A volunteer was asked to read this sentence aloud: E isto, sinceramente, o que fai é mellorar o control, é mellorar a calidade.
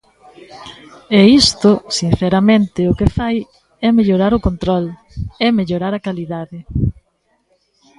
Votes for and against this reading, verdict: 1, 2, rejected